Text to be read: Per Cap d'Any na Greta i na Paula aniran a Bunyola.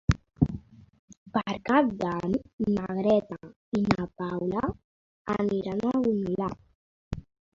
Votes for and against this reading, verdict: 1, 2, rejected